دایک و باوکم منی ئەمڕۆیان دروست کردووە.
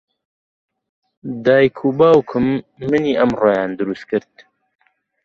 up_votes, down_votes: 0, 2